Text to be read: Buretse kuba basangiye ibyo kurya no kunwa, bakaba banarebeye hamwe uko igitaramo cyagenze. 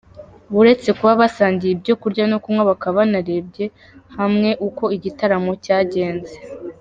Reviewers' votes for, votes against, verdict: 2, 1, accepted